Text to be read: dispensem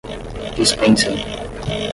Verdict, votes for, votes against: rejected, 0, 5